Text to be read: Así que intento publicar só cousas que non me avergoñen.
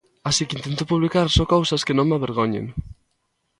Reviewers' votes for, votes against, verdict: 2, 0, accepted